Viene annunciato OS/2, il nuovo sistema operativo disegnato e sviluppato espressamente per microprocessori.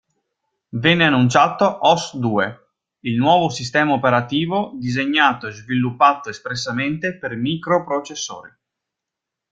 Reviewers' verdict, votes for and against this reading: rejected, 0, 2